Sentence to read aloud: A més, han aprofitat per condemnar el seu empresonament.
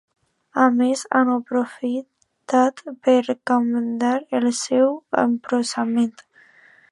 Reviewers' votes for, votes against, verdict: 0, 2, rejected